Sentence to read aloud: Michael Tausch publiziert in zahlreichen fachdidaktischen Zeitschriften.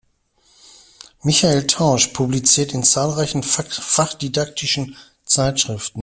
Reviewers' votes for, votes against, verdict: 0, 2, rejected